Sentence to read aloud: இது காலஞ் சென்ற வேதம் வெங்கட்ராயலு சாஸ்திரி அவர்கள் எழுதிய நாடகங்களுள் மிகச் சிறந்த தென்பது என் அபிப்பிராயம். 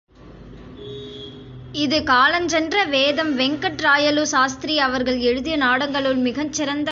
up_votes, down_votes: 1, 2